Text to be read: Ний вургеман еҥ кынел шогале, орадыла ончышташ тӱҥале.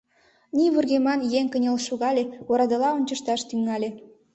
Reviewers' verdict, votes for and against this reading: accepted, 2, 0